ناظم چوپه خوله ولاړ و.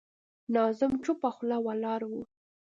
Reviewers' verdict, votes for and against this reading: accepted, 2, 0